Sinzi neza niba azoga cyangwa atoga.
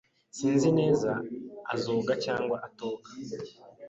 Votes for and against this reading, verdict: 1, 2, rejected